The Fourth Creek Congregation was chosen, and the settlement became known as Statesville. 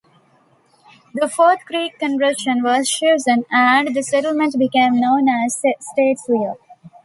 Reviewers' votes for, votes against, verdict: 1, 2, rejected